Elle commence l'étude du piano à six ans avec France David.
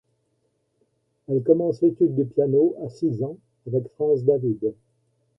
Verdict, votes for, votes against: rejected, 1, 2